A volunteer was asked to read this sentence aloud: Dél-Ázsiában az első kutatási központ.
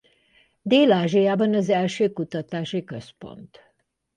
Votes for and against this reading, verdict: 2, 0, accepted